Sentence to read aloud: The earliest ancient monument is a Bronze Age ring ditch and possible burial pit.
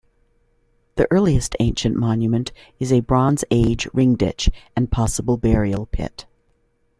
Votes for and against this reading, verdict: 2, 0, accepted